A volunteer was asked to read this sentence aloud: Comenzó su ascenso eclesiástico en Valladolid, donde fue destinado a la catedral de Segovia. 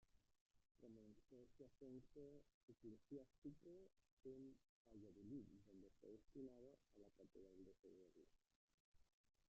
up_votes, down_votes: 0, 2